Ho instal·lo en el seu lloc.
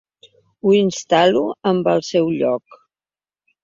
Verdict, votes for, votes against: rejected, 1, 3